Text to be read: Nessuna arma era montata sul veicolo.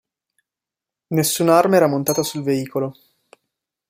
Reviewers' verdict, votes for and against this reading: accepted, 2, 0